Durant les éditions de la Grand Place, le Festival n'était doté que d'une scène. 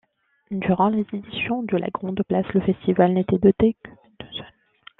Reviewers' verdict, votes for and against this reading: rejected, 1, 2